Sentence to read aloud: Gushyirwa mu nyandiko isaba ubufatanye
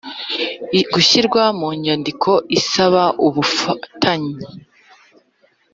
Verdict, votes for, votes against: accepted, 4, 0